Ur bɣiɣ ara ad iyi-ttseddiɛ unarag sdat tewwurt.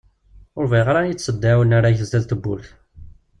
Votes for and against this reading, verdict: 2, 0, accepted